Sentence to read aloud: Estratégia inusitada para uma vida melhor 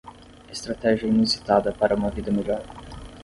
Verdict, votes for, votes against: accepted, 10, 0